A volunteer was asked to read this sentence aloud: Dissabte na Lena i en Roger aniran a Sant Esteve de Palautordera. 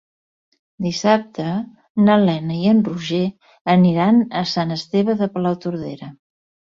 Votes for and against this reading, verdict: 2, 0, accepted